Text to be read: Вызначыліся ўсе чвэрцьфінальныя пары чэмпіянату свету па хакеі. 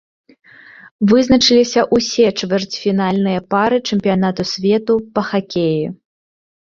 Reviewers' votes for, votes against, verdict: 1, 2, rejected